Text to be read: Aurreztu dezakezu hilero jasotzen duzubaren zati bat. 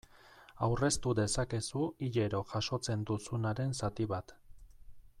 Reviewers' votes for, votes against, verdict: 2, 0, accepted